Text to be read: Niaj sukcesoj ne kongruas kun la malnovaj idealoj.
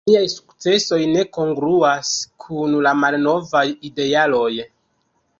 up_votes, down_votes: 0, 2